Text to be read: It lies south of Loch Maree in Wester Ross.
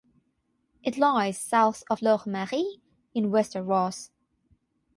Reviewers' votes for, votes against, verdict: 6, 0, accepted